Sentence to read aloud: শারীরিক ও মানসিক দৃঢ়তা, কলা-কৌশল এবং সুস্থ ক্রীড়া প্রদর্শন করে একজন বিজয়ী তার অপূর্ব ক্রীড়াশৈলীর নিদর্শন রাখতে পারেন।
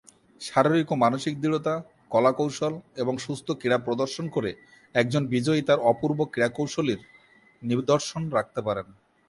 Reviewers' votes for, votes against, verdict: 2, 0, accepted